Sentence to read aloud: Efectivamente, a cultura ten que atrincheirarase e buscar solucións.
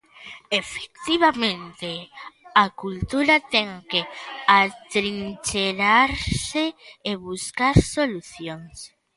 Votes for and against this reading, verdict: 0, 2, rejected